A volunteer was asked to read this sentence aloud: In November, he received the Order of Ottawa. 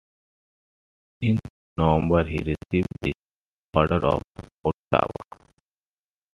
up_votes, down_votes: 1, 2